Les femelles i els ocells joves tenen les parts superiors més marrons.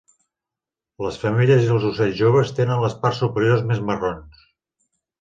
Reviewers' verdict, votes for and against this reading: accepted, 3, 0